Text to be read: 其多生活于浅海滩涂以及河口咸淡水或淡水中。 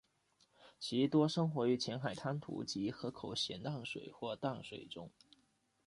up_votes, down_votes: 1, 2